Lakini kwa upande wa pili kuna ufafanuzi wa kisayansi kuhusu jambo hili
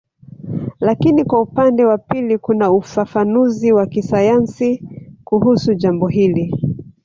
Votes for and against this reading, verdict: 1, 2, rejected